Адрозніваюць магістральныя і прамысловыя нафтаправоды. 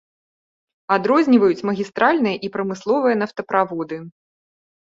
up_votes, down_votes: 2, 0